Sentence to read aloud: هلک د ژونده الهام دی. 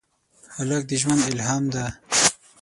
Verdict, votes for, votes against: rejected, 0, 6